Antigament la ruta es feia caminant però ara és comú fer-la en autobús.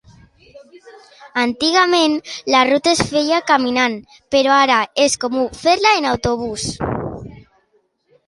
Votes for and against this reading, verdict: 2, 0, accepted